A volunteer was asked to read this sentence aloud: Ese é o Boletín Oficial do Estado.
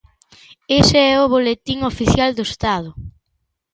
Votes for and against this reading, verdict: 2, 0, accepted